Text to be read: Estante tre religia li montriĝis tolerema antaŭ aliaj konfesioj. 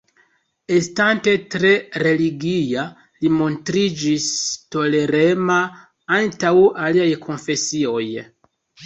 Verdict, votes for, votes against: accepted, 2, 0